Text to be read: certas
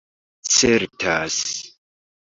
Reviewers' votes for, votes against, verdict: 1, 2, rejected